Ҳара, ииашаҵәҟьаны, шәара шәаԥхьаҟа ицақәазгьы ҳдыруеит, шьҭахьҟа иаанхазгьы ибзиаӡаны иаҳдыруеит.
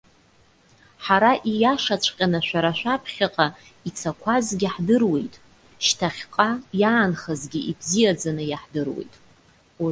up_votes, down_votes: 0, 2